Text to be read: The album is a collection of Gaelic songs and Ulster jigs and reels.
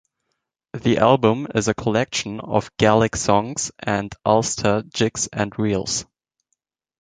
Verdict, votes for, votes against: accepted, 2, 0